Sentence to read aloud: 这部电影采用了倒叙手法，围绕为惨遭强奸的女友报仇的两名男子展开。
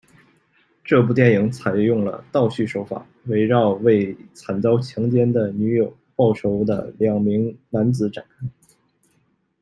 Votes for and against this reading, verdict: 1, 2, rejected